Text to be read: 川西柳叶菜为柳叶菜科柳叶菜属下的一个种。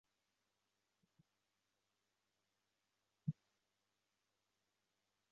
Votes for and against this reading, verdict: 0, 2, rejected